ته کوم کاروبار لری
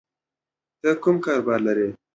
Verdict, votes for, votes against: accepted, 2, 0